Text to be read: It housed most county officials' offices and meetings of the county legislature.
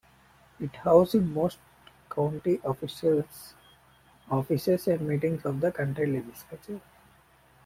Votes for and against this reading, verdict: 1, 2, rejected